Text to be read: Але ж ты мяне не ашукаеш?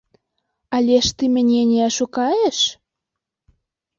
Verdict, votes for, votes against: accepted, 2, 0